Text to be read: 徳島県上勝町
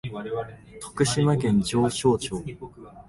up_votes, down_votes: 2, 0